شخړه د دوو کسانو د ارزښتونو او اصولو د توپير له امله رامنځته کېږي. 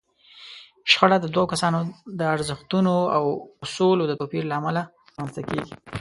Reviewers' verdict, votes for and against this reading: accepted, 2, 0